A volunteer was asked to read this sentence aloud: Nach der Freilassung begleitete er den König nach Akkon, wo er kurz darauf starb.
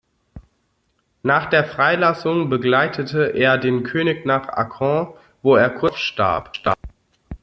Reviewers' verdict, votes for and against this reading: rejected, 0, 2